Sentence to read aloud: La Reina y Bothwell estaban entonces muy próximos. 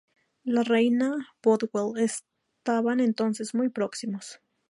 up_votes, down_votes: 2, 0